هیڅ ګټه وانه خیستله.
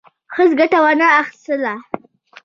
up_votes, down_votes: 2, 0